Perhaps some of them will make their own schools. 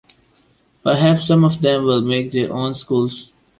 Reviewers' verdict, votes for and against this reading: accepted, 2, 0